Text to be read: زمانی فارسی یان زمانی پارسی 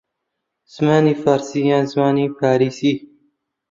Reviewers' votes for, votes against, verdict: 0, 2, rejected